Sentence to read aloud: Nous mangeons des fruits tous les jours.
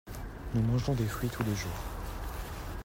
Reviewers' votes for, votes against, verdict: 2, 0, accepted